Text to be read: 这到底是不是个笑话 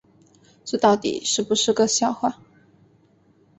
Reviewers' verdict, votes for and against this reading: accepted, 2, 0